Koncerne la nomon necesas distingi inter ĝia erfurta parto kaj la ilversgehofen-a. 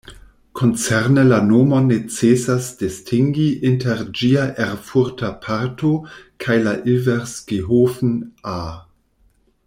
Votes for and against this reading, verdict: 0, 2, rejected